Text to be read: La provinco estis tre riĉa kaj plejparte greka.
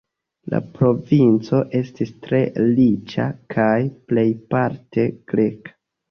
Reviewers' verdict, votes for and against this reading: accepted, 2, 0